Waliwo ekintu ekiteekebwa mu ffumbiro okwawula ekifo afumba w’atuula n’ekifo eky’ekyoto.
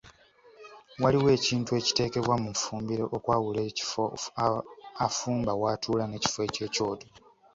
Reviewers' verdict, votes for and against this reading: accepted, 2, 1